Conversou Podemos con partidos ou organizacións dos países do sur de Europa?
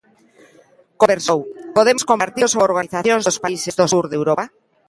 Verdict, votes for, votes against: rejected, 0, 2